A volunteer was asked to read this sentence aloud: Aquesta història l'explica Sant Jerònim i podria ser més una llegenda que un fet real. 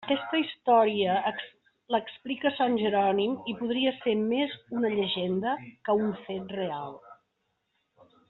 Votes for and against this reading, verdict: 0, 2, rejected